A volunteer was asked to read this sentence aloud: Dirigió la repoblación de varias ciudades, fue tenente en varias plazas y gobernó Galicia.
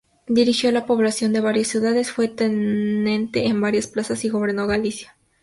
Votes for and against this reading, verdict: 0, 2, rejected